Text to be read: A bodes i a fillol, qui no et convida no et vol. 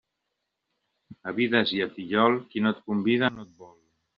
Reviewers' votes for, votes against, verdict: 0, 2, rejected